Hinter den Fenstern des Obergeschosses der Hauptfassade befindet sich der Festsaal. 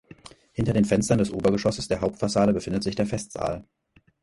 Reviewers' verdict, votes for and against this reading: accepted, 4, 0